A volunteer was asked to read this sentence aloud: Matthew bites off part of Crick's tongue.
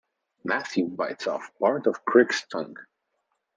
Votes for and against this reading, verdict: 2, 0, accepted